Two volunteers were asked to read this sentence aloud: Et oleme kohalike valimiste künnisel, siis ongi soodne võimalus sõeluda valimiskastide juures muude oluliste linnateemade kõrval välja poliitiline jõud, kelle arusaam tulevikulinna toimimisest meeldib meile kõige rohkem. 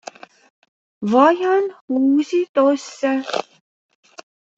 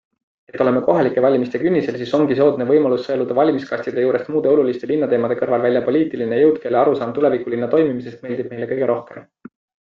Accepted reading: second